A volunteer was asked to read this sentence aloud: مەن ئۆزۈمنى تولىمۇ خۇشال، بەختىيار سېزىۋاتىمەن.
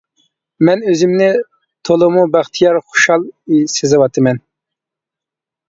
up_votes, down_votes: 0, 2